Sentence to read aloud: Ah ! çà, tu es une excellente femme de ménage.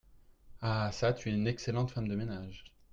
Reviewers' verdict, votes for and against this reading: accepted, 2, 0